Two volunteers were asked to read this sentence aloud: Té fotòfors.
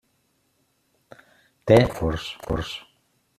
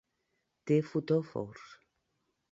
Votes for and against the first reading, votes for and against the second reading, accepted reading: 0, 2, 2, 0, second